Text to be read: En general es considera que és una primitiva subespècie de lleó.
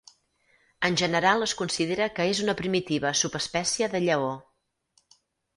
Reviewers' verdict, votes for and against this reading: accepted, 4, 0